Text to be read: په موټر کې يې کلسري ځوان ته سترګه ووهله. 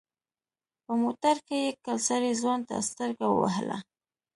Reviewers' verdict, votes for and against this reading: accepted, 2, 0